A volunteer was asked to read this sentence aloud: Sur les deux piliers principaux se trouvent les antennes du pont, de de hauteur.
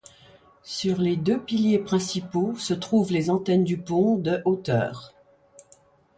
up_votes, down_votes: 1, 2